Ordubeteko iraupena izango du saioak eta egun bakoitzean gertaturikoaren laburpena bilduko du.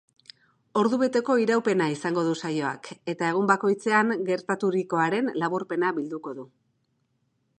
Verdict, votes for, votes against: accepted, 2, 0